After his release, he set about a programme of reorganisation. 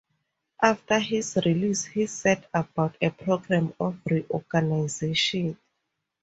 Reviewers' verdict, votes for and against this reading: accepted, 4, 0